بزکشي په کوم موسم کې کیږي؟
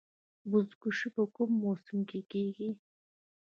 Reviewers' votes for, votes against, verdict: 0, 2, rejected